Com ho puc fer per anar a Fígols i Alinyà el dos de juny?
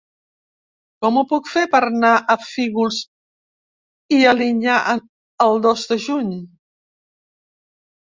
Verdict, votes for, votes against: accepted, 2, 1